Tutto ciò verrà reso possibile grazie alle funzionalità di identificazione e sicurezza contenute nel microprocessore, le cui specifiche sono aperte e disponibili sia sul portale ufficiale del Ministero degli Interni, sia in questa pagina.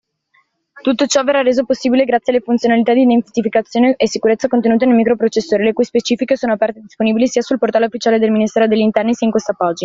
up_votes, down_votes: 2, 1